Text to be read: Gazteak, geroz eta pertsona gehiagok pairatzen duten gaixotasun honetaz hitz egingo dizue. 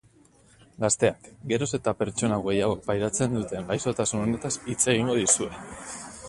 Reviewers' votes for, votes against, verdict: 2, 2, rejected